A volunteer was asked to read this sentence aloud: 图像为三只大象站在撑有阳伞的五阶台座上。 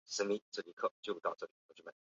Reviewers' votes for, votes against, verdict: 0, 2, rejected